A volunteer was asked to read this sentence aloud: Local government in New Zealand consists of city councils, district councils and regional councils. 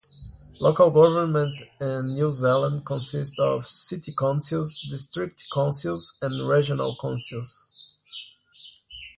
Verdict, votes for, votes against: rejected, 0, 2